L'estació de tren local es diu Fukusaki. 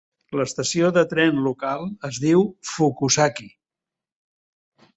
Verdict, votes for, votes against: accepted, 3, 0